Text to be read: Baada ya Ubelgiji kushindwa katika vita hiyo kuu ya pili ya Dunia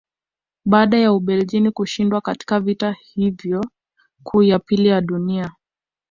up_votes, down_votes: 1, 2